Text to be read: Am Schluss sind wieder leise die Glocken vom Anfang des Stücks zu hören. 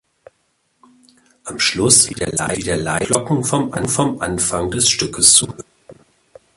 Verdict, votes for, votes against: rejected, 0, 2